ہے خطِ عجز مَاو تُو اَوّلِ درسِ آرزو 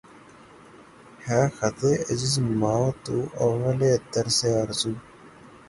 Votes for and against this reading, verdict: 0, 3, rejected